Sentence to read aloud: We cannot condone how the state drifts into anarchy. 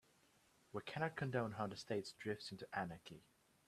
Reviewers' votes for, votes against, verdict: 2, 1, accepted